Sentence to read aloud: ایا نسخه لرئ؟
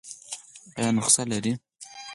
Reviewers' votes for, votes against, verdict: 4, 2, accepted